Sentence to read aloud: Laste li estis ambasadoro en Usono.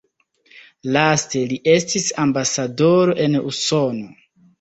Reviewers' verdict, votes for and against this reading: accepted, 2, 1